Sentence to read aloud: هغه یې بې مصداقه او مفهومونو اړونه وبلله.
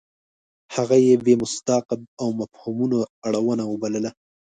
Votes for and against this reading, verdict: 0, 2, rejected